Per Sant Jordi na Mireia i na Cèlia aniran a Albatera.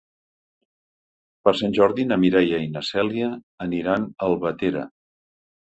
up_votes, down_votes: 3, 0